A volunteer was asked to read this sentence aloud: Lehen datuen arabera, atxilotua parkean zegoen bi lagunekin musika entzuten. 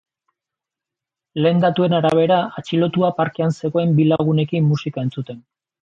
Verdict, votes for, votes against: accepted, 2, 0